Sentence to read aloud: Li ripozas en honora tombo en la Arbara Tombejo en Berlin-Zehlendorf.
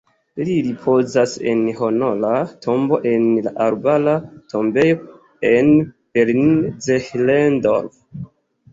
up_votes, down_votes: 3, 1